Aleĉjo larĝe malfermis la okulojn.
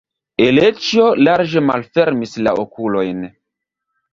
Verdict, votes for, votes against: rejected, 1, 3